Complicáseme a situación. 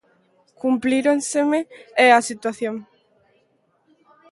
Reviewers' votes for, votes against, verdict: 0, 2, rejected